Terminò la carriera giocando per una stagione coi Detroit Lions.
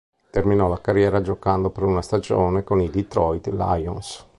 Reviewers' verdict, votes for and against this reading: rejected, 0, 2